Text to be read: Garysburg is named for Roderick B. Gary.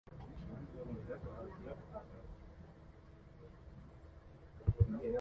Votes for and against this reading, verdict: 0, 2, rejected